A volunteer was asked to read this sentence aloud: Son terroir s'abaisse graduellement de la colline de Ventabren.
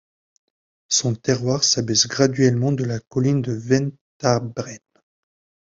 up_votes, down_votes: 2, 0